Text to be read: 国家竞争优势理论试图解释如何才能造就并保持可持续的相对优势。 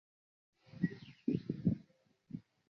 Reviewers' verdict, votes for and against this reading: rejected, 2, 4